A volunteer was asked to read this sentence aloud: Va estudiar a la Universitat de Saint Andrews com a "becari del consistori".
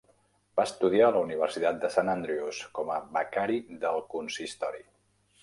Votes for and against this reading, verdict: 2, 0, accepted